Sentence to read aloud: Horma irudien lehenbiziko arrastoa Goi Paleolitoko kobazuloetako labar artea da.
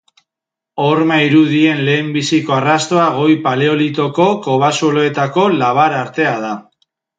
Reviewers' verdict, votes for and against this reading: accepted, 2, 0